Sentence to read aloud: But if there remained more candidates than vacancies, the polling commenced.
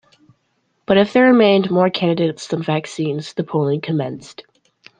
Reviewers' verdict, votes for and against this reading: rejected, 0, 2